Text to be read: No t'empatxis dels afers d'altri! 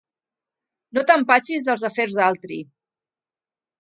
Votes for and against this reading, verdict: 4, 0, accepted